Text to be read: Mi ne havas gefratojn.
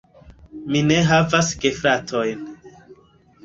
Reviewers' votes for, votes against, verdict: 2, 1, accepted